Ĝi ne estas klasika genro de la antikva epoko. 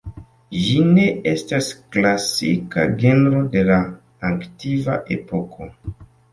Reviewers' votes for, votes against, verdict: 2, 1, accepted